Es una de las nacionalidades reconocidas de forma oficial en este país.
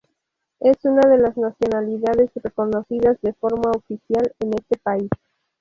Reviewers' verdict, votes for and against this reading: rejected, 2, 2